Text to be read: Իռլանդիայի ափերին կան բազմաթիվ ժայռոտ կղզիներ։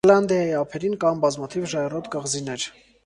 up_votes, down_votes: 0, 2